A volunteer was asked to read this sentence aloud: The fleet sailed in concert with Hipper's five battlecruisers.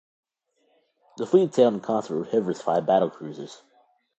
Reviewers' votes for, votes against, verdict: 2, 0, accepted